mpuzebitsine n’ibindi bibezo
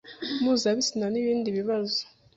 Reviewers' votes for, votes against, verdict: 0, 2, rejected